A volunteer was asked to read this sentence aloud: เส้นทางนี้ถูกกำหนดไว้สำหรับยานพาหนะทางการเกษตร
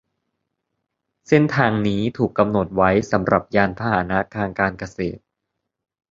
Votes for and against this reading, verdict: 2, 0, accepted